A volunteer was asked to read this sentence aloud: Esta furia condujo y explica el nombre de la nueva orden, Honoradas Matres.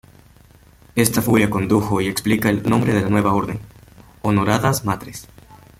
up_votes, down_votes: 2, 0